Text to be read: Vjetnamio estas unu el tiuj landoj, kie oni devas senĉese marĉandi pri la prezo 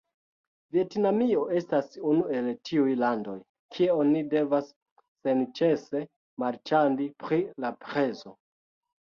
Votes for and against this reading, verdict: 0, 2, rejected